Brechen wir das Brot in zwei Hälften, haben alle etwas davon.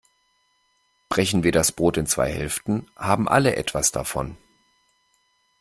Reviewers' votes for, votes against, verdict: 2, 0, accepted